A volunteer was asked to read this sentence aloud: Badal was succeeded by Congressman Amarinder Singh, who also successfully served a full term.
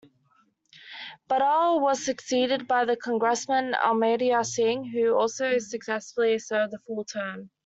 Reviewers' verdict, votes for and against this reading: rejected, 1, 2